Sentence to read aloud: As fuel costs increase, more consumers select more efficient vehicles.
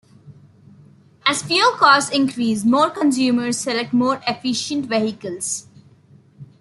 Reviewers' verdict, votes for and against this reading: accepted, 2, 0